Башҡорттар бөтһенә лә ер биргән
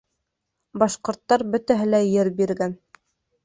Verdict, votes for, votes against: rejected, 0, 2